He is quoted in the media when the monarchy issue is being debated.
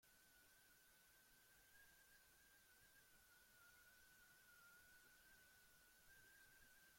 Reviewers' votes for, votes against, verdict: 0, 2, rejected